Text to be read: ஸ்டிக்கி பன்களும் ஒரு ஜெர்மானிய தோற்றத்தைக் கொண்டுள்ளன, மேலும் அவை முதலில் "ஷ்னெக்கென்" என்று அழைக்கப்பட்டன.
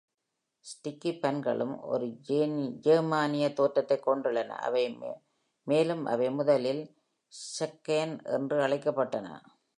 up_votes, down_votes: 0, 2